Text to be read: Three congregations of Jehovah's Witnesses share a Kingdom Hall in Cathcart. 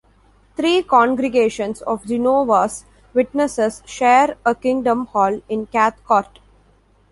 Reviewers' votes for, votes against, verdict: 0, 2, rejected